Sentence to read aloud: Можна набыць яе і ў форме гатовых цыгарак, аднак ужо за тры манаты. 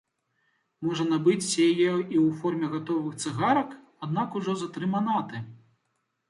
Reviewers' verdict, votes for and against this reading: accepted, 2, 0